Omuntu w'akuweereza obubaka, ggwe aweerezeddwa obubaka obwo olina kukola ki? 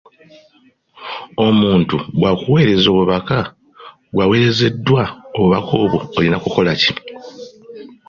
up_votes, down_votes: 2, 0